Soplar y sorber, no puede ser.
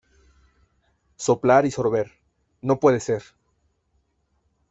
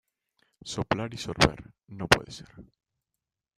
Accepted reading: first